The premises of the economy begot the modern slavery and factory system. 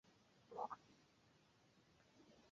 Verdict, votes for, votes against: rejected, 0, 2